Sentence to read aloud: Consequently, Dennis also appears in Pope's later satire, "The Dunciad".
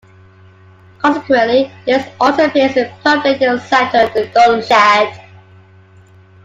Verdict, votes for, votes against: rejected, 0, 2